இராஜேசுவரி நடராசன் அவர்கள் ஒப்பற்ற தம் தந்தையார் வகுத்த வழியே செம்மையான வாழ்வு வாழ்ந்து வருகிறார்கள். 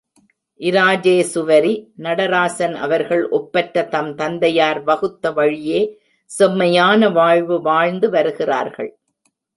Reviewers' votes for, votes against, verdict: 0, 2, rejected